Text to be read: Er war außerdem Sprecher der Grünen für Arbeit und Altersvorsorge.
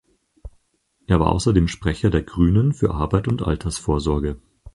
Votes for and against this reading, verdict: 4, 2, accepted